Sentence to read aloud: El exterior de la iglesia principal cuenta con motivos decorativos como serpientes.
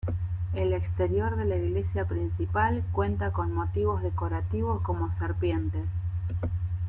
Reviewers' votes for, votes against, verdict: 2, 1, accepted